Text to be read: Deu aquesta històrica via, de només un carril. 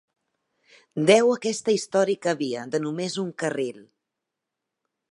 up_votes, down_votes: 3, 0